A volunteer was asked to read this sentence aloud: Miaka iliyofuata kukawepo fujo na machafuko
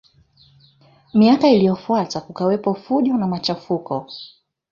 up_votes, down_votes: 2, 1